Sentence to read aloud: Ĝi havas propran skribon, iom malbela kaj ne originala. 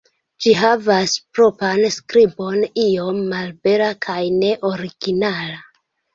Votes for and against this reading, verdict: 2, 1, accepted